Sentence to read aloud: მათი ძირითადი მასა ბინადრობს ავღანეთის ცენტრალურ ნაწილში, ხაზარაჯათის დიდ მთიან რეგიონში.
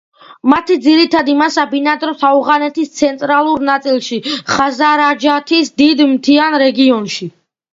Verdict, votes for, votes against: accepted, 2, 1